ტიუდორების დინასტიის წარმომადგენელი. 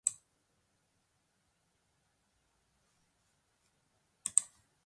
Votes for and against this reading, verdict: 0, 2, rejected